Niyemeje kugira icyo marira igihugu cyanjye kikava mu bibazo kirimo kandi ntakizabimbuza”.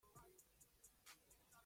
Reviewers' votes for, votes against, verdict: 0, 3, rejected